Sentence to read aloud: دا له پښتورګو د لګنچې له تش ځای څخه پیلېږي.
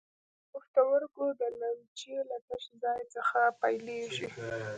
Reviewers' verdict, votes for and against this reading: rejected, 0, 2